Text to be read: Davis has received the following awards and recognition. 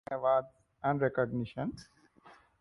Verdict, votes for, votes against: rejected, 1, 2